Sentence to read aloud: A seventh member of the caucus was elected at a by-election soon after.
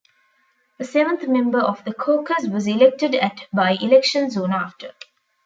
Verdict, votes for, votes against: rejected, 1, 2